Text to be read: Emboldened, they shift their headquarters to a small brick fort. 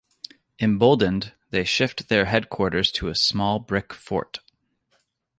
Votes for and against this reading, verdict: 2, 1, accepted